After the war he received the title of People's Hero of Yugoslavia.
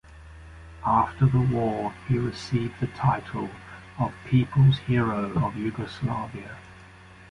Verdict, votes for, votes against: accepted, 2, 0